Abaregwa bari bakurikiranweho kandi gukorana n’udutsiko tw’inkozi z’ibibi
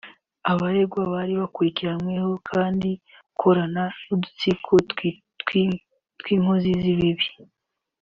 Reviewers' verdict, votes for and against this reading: rejected, 0, 2